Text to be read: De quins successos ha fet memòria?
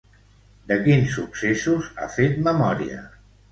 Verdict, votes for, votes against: accepted, 2, 0